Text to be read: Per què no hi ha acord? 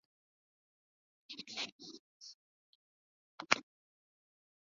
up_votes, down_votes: 1, 2